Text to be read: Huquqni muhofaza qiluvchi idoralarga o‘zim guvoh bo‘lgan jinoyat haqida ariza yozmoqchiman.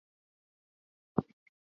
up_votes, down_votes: 0, 2